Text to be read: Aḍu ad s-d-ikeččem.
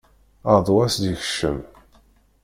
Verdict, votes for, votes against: rejected, 0, 2